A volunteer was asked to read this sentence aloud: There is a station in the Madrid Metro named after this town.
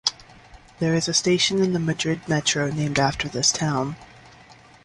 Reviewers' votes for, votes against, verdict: 2, 0, accepted